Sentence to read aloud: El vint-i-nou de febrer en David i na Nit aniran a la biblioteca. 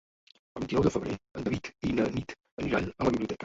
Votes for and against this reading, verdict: 1, 2, rejected